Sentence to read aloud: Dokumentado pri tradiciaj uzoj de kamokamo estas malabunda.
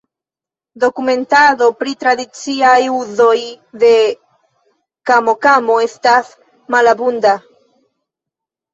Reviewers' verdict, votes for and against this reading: accepted, 2, 0